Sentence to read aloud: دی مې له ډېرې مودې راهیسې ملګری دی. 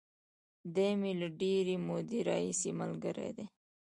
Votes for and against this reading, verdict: 1, 2, rejected